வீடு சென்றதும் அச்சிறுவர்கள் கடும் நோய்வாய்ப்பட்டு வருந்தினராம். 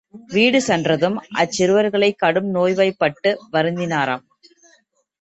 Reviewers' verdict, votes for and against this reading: rejected, 0, 2